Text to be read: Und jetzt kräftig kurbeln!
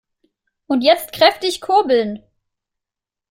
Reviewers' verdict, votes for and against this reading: accepted, 2, 0